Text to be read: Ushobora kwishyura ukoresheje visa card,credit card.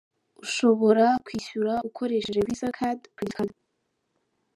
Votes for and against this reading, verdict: 0, 2, rejected